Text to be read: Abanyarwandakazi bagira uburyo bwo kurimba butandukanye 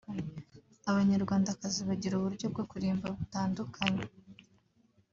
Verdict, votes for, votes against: accepted, 3, 0